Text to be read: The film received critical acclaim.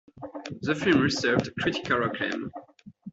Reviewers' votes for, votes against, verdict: 2, 1, accepted